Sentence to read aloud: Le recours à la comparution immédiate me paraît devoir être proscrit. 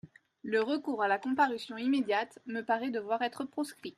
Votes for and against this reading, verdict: 2, 0, accepted